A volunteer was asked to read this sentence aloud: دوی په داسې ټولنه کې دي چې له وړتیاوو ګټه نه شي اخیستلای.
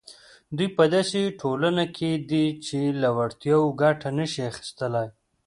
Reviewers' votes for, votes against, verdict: 2, 0, accepted